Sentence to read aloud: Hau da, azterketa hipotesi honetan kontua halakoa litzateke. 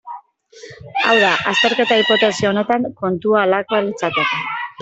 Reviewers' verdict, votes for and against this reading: rejected, 0, 2